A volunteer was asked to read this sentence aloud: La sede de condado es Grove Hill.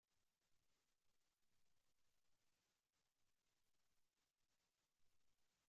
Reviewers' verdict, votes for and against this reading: rejected, 0, 2